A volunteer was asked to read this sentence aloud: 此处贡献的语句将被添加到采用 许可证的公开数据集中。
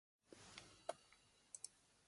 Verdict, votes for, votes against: accepted, 3, 2